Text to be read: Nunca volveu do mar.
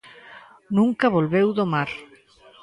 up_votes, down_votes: 1, 2